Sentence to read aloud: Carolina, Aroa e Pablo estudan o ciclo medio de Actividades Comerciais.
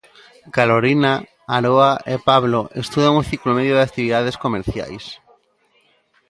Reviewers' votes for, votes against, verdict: 2, 1, accepted